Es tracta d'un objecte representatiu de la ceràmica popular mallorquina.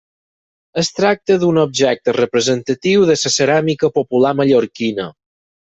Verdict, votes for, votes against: accepted, 6, 2